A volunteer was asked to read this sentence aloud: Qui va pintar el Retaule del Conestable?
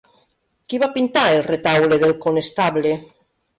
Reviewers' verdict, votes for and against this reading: accepted, 3, 0